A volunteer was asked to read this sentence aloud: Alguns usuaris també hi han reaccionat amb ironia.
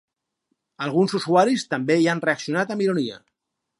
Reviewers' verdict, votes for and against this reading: accepted, 4, 0